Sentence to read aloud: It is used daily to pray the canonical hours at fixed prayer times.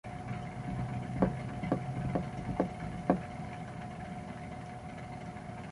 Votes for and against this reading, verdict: 0, 3, rejected